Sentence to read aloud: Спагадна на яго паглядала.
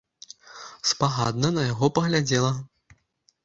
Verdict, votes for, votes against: rejected, 1, 2